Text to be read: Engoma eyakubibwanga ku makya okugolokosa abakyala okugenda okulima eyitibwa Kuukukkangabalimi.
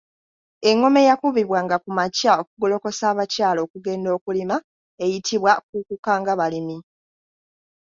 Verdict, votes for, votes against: rejected, 1, 2